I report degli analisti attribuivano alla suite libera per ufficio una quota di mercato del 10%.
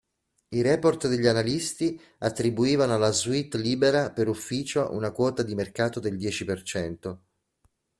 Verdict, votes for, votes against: rejected, 0, 2